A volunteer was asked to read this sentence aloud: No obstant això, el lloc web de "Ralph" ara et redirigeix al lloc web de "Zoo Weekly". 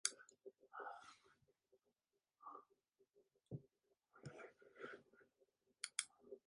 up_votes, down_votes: 0, 2